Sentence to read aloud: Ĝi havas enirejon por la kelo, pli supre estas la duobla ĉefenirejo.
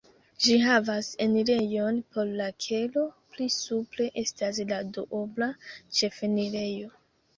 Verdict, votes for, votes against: accepted, 2, 1